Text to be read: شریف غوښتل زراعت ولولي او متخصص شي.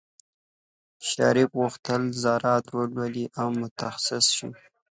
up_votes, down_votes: 3, 0